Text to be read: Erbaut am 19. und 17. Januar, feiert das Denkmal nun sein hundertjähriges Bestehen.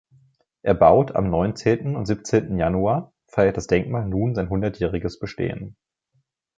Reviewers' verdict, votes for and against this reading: rejected, 0, 2